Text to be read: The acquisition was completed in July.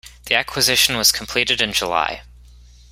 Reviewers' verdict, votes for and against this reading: accepted, 2, 0